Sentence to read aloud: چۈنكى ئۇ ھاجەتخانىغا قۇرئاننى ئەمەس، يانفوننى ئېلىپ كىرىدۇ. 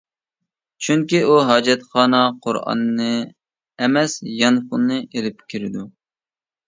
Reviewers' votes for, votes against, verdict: 0, 2, rejected